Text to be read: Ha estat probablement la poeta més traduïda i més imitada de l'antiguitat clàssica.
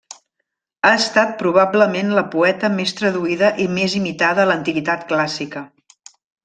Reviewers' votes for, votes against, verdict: 0, 2, rejected